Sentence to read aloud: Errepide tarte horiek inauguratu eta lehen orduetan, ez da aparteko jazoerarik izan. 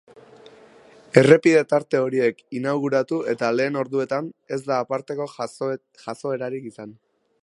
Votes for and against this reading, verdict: 0, 2, rejected